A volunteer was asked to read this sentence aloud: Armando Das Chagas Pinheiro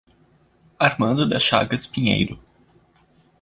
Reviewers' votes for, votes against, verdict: 2, 0, accepted